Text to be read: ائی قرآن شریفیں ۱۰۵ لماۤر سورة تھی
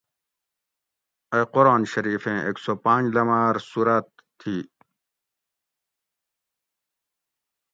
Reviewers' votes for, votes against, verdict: 0, 2, rejected